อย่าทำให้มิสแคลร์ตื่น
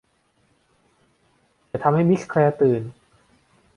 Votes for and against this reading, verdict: 1, 2, rejected